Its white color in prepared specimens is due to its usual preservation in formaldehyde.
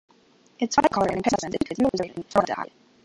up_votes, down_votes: 1, 3